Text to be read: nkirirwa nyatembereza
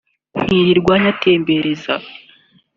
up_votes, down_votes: 2, 0